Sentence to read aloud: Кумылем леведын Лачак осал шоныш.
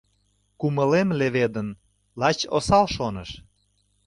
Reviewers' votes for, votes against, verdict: 0, 2, rejected